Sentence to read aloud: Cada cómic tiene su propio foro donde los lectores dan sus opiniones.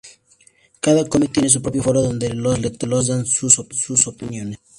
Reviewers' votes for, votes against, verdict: 0, 2, rejected